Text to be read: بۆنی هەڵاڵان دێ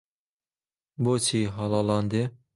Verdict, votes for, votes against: rejected, 0, 2